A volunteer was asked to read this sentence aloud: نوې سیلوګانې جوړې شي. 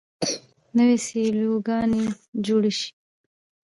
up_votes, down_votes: 1, 2